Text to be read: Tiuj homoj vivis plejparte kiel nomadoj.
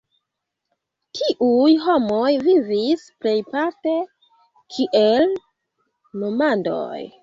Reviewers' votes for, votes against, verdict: 0, 2, rejected